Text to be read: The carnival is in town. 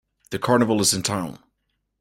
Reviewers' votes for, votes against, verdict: 2, 0, accepted